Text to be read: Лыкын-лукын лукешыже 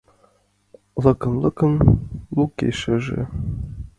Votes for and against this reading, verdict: 2, 1, accepted